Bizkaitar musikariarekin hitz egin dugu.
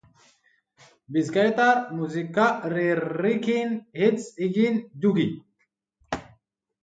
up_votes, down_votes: 0, 3